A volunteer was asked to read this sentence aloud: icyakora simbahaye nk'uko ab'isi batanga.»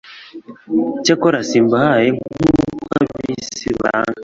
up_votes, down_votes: 1, 2